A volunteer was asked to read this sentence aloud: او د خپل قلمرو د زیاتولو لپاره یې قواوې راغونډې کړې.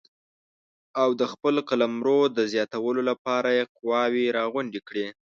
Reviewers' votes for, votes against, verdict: 2, 0, accepted